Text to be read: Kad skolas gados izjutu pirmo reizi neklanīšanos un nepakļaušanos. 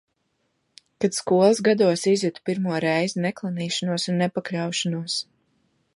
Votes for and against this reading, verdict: 2, 0, accepted